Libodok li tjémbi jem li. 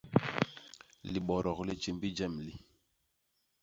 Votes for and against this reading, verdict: 2, 0, accepted